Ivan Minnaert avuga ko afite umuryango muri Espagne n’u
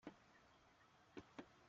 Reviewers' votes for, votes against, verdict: 0, 2, rejected